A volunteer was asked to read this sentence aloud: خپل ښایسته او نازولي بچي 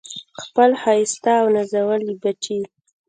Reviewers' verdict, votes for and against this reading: accepted, 2, 0